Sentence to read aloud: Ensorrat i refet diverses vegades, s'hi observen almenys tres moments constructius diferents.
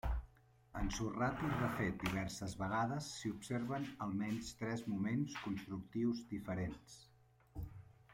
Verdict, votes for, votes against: rejected, 0, 2